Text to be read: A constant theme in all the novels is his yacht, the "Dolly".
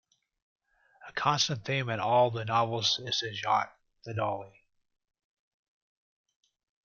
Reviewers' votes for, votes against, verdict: 1, 2, rejected